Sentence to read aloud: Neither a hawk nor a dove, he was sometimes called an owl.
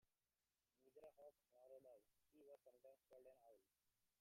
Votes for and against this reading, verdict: 0, 2, rejected